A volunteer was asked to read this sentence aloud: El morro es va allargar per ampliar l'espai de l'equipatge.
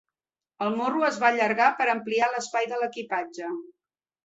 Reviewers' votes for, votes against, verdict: 4, 0, accepted